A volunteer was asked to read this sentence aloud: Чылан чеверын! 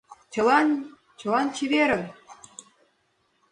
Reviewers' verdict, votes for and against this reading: accepted, 2, 1